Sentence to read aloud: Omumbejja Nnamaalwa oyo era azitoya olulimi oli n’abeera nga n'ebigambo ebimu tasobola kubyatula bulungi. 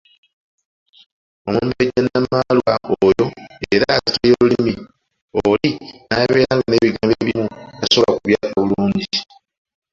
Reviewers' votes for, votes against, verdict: 0, 2, rejected